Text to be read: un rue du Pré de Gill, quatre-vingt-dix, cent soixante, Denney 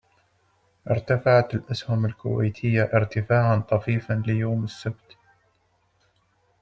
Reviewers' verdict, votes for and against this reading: rejected, 0, 2